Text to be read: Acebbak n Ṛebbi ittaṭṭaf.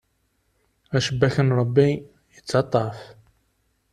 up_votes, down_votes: 1, 2